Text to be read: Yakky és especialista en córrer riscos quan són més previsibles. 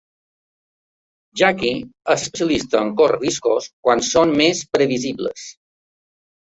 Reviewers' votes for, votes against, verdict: 2, 1, accepted